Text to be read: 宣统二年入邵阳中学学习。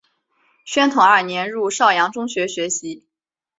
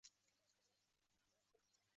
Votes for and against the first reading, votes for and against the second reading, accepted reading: 3, 0, 0, 2, first